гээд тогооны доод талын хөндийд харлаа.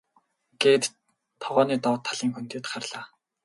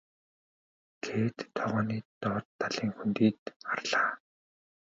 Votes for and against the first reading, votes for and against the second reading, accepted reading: 6, 0, 1, 2, first